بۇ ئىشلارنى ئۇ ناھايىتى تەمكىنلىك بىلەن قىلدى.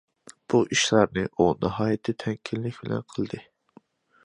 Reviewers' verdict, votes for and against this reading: accepted, 2, 1